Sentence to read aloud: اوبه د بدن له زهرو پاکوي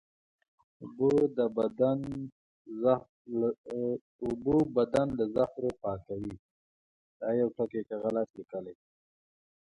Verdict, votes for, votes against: rejected, 0, 2